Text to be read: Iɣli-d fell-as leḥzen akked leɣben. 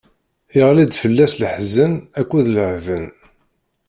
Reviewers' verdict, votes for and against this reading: rejected, 0, 2